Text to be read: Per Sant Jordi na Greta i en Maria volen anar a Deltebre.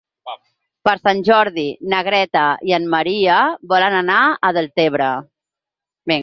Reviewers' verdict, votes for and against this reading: rejected, 0, 6